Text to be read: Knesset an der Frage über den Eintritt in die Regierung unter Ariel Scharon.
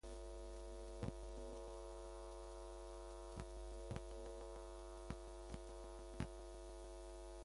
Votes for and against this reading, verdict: 0, 2, rejected